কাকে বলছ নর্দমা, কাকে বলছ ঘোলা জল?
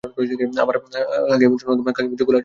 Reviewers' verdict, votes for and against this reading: rejected, 0, 2